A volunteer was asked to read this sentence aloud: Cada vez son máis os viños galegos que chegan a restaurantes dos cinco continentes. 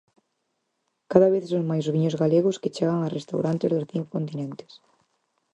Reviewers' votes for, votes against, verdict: 4, 0, accepted